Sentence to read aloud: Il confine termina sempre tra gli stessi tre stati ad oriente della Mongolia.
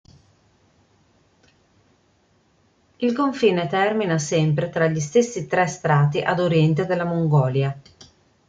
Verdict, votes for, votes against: rejected, 0, 2